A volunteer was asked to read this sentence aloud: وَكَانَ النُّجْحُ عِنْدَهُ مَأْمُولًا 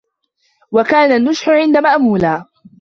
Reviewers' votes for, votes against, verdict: 1, 2, rejected